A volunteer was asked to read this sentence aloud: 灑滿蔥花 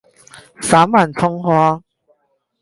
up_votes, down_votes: 4, 8